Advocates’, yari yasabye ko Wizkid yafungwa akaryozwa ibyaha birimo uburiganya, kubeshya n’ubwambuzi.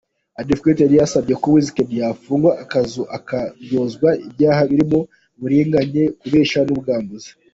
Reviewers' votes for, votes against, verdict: 2, 1, accepted